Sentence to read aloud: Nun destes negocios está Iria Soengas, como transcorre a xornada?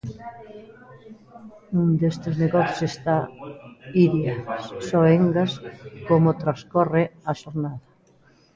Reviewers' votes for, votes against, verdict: 2, 0, accepted